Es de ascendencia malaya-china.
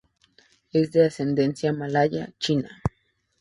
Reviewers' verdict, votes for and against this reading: accepted, 2, 0